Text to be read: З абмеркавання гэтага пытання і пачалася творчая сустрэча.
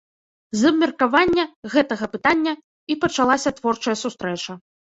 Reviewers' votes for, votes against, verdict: 2, 0, accepted